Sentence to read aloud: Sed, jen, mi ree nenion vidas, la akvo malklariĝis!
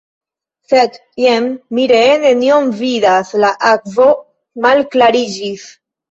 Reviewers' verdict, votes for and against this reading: accepted, 2, 0